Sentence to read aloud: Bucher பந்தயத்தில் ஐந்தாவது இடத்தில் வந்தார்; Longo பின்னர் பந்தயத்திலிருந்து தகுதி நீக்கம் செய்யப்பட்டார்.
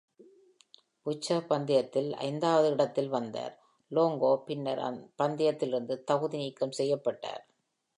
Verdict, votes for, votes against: accepted, 2, 0